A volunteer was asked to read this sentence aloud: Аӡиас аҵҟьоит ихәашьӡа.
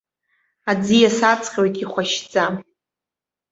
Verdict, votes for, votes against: accepted, 2, 0